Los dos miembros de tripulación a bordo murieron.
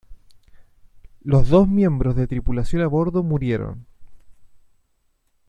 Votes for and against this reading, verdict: 1, 2, rejected